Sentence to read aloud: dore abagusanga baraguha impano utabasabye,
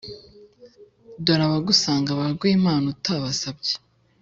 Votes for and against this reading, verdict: 2, 0, accepted